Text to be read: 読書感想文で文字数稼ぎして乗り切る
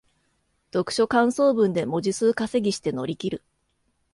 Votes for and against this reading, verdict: 2, 0, accepted